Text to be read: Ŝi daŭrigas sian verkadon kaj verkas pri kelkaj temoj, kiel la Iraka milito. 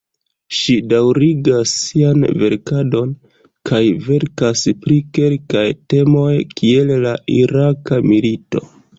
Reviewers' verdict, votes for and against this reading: accepted, 2, 0